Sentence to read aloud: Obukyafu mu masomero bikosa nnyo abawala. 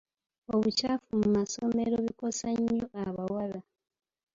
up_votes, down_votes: 1, 2